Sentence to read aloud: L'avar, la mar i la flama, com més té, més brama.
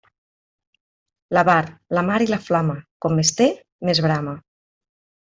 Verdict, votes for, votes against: accepted, 2, 0